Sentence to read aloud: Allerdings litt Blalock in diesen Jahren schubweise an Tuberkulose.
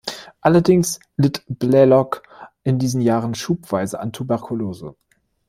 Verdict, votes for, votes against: accepted, 2, 0